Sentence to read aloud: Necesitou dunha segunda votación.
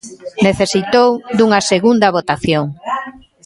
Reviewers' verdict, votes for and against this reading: accepted, 2, 0